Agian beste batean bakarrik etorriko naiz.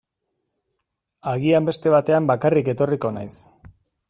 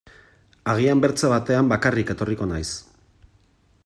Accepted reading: first